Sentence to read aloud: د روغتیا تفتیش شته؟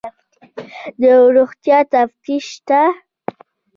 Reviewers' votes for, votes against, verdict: 1, 2, rejected